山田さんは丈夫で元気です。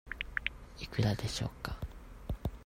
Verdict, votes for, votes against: rejected, 0, 2